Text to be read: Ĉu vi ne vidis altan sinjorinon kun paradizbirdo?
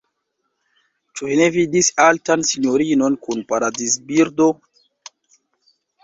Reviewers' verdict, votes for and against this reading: rejected, 1, 2